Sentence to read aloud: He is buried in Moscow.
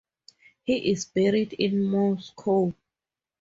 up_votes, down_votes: 2, 2